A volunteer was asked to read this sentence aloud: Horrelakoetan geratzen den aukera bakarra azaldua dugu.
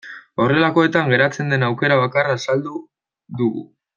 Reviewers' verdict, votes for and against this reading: rejected, 0, 2